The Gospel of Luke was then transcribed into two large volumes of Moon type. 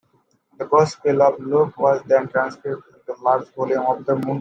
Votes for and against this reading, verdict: 0, 2, rejected